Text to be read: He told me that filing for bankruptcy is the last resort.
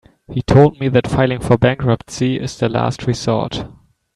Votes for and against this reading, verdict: 2, 0, accepted